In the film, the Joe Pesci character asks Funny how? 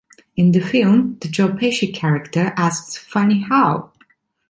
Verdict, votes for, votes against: accepted, 2, 1